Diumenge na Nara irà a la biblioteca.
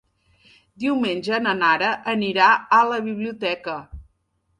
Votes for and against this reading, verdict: 0, 2, rejected